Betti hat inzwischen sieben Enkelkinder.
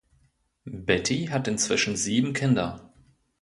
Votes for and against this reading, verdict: 0, 2, rejected